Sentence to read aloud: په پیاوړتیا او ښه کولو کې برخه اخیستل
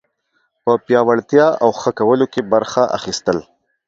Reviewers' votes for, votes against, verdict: 2, 0, accepted